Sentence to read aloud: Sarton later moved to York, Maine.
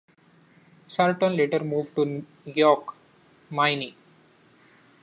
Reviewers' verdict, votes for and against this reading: rejected, 0, 2